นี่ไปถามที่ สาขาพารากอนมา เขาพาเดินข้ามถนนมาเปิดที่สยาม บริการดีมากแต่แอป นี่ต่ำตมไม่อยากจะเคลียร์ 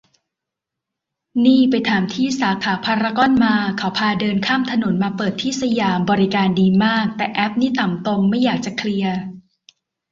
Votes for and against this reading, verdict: 2, 0, accepted